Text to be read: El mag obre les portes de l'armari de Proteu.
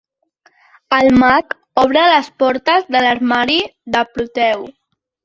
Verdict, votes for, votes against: accepted, 3, 0